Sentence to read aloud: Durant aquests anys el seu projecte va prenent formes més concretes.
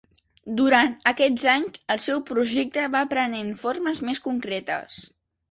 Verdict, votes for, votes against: accepted, 2, 0